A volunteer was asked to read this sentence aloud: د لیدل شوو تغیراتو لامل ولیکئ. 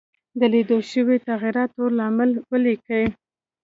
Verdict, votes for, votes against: accepted, 2, 0